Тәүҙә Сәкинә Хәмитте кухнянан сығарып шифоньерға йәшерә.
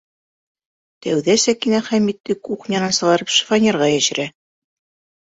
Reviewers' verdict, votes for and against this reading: accepted, 2, 0